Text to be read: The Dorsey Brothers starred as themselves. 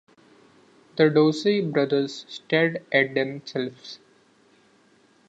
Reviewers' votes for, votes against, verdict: 1, 2, rejected